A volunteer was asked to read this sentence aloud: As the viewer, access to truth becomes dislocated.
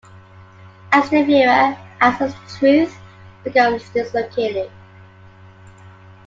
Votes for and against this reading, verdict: 2, 0, accepted